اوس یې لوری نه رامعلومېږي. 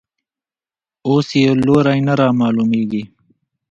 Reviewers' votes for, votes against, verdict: 1, 2, rejected